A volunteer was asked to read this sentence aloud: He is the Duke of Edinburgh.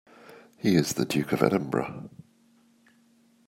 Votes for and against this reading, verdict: 2, 0, accepted